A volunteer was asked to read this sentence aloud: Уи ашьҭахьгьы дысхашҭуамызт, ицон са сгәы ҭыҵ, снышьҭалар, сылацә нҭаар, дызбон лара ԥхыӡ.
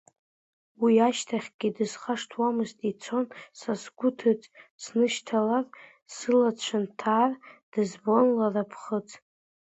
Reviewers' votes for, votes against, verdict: 0, 2, rejected